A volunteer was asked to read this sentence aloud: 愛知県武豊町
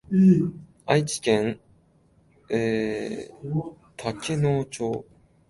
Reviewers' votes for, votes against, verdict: 1, 2, rejected